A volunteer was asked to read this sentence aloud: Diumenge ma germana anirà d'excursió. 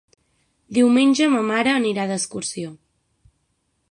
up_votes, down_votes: 0, 6